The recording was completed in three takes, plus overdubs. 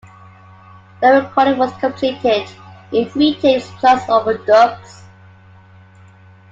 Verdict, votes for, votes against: accepted, 2, 0